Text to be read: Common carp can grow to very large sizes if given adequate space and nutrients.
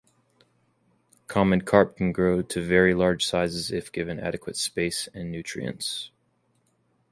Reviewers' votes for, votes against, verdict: 2, 0, accepted